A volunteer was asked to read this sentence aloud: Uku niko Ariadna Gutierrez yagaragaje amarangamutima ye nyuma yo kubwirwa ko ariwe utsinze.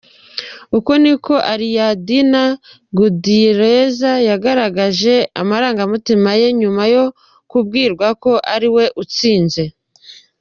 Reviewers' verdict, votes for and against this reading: rejected, 1, 2